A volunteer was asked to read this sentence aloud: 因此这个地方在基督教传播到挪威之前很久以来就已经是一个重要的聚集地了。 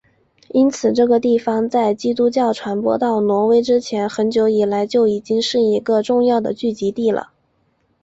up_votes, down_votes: 4, 0